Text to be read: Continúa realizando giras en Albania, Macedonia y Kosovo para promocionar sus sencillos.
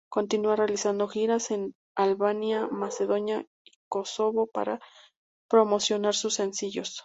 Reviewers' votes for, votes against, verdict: 0, 2, rejected